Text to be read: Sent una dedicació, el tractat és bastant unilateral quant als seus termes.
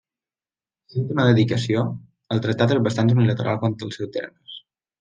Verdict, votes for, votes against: rejected, 1, 2